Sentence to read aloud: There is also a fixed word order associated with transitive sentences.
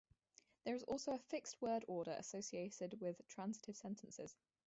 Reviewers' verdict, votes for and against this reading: accepted, 2, 0